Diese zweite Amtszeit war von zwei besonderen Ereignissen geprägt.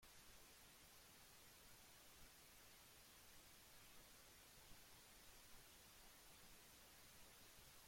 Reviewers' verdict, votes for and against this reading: rejected, 0, 2